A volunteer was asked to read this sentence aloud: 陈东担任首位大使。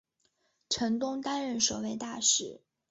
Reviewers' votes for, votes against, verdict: 2, 0, accepted